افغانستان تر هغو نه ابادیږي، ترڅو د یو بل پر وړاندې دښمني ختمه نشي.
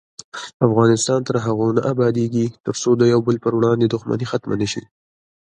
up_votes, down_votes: 2, 1